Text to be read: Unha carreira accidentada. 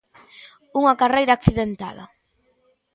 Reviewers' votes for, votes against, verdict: 2, 0, accepted